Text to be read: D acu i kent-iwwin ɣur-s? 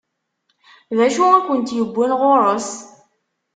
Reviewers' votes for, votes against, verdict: 2, 0, accepted